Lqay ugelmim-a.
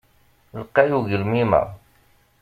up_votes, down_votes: 2, 0